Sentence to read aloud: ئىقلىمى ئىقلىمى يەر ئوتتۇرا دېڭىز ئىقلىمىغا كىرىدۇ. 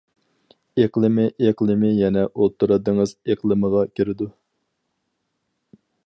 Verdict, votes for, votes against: rejected, 0, 4